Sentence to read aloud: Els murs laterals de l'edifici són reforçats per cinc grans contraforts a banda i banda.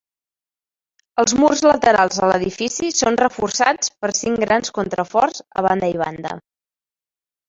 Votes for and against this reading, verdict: 4, 0, accepted